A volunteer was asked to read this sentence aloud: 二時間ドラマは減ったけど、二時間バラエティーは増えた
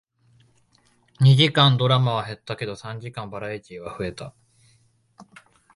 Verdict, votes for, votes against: rejected, 1, 2